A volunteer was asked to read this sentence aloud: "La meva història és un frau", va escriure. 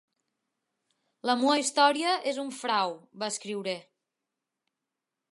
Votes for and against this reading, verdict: 2, 1, accepted